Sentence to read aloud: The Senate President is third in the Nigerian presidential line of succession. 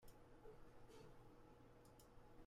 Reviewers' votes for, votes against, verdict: 0, 2, rejected